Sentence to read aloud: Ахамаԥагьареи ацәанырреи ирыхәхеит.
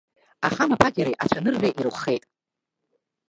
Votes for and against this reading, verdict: 0, 2, rejected